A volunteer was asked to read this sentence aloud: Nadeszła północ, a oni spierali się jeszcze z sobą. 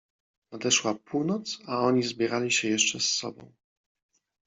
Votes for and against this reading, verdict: 0, 2, rejected